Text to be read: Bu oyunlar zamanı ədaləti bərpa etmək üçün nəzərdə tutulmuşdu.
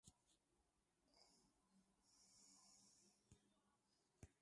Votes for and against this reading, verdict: 0, 2, rejected